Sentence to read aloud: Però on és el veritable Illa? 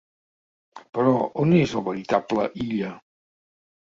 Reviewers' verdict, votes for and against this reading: accepted, 2, 0